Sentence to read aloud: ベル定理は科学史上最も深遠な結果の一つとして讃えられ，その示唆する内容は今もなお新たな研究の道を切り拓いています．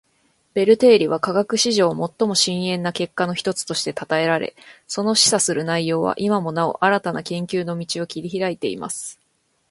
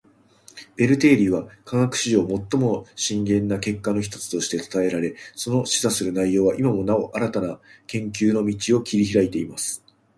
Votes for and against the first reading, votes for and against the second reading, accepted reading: 1, 2, 2, 1, second